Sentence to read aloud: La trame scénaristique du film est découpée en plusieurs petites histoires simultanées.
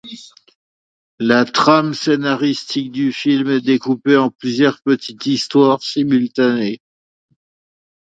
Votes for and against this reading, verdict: 2, 1, accepted